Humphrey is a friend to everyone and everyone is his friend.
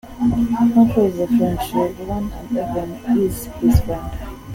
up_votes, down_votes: 2, 0